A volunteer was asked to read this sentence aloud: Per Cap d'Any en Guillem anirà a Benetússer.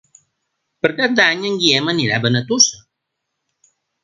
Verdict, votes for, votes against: rejected, 1, 2